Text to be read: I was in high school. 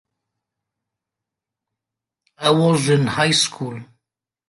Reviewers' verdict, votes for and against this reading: accepted, 2, 1